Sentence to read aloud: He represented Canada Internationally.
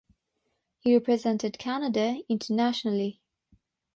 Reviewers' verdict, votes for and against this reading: rejected, 3, 3